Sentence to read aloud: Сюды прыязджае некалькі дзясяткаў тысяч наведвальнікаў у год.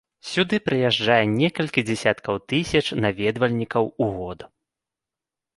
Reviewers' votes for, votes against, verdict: 2, 0, accepted